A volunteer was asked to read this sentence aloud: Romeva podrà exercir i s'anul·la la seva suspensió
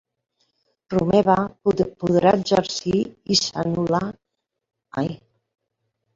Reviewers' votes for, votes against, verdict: 0, 2, rejected